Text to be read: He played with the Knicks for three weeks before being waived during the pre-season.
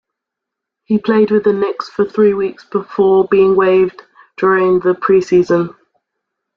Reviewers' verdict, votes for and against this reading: accepted, 2, 0